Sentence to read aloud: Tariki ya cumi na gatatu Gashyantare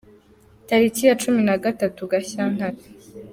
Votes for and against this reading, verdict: 4, 1, accepted